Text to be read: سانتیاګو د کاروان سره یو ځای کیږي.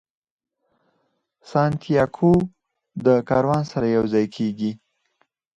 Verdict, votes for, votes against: rejected, 2, 4